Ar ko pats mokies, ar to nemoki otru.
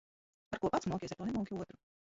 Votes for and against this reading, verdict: 1, 2, rejected